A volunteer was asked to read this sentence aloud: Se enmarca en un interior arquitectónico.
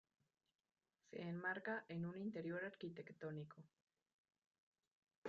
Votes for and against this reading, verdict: 0, 2, rejected